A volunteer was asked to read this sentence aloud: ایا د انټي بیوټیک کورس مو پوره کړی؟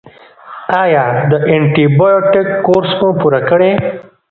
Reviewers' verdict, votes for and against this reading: rejected, 1, 2